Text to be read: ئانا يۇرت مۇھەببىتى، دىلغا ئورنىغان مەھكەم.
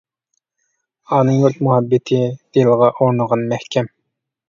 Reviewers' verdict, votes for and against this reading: accepted, 2, 0